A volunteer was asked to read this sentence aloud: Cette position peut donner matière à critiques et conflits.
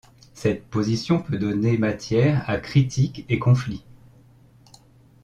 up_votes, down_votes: 1, 2